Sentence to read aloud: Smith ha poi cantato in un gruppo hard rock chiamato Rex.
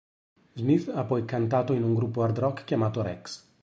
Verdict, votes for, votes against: accepted, 2, 0